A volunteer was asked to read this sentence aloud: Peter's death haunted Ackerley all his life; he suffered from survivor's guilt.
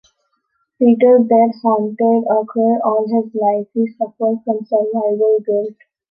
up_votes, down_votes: 1, 2